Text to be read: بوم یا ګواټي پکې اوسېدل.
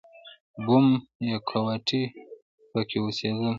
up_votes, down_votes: 1, 2